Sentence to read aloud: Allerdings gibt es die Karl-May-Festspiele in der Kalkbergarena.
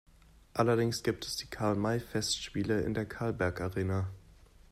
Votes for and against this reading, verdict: 0, 2, rejected